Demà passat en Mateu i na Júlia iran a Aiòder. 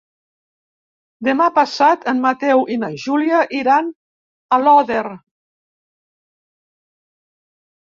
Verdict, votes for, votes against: rejected, 1, 2